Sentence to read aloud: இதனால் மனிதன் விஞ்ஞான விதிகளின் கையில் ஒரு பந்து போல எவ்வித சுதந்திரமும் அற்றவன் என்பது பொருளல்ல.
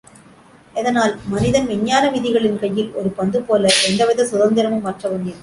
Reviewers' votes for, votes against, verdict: 0, 2, rejected